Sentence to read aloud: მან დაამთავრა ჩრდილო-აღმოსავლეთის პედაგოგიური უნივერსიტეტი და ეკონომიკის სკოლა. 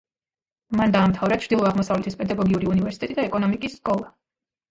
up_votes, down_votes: 1, 2